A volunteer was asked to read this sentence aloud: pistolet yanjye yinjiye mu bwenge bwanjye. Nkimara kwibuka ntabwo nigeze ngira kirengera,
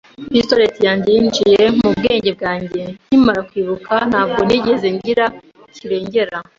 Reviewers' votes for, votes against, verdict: 2, 0, accepted